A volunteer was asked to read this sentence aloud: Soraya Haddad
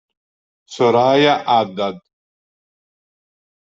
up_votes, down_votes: 2, 0